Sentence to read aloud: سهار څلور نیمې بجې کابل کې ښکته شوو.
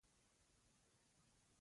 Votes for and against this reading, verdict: 0, 2, rejected